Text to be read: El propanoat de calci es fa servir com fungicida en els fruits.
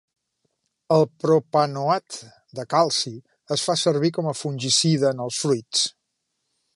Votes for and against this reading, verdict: 1, 2, rejected